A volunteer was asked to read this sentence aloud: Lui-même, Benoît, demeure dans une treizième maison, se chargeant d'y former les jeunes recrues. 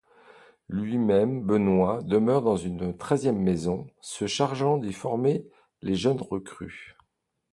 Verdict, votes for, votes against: accepted, 2, 0